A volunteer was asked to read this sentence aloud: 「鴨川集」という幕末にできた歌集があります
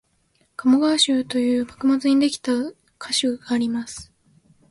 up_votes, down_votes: 1, 2